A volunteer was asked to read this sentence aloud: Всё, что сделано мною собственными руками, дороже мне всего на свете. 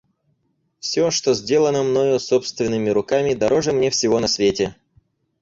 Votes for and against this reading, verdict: 4, 0, accepted